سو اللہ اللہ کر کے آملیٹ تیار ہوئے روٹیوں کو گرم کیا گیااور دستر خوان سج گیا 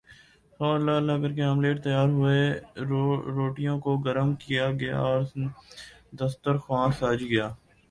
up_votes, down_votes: 1, 2